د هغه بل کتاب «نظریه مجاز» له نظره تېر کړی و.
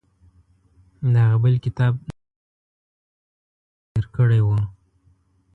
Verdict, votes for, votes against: rejected, 1, 2